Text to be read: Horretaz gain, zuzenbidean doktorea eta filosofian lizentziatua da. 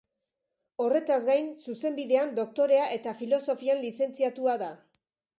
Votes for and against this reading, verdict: 2, 0, accepted